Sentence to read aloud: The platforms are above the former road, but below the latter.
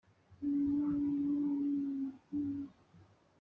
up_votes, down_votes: 0, 2